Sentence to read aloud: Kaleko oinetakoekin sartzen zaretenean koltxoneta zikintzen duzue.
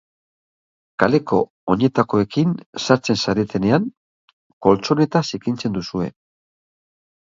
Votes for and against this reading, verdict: 1, 2, rejected